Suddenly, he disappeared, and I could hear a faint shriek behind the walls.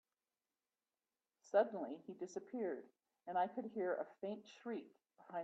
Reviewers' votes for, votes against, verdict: 0, 3, rejected